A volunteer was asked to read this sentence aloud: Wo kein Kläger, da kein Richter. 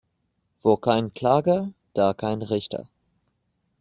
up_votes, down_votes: 0, 2